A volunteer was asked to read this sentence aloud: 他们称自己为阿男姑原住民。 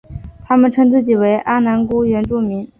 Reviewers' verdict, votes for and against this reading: accepted, 2, 0